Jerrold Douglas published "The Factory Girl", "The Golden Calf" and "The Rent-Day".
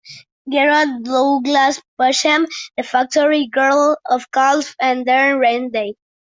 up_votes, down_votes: 1, 2